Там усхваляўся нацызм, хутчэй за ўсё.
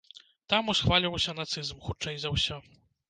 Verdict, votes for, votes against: rejected, 1, 2